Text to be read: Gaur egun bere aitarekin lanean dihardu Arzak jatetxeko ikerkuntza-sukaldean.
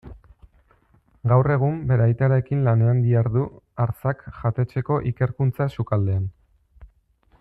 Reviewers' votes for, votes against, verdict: 2, 1, accepted